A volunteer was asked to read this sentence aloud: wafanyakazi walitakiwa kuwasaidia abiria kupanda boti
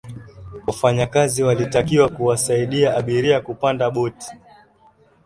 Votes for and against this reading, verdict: 12, 0, accepted